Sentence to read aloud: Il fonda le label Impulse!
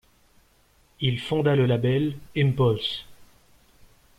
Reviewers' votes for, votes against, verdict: 2, 0, accepted